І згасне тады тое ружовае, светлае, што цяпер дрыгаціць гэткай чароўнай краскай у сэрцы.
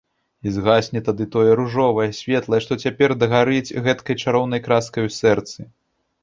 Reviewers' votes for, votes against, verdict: 1, 2, rejected